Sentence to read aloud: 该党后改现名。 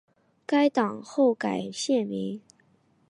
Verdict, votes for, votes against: accepted, 2, 0